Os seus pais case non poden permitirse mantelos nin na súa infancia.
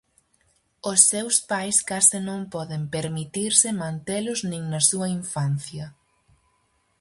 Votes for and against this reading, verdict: 4, 0, accepted